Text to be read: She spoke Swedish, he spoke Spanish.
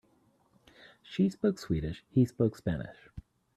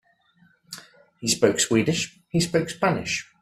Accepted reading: first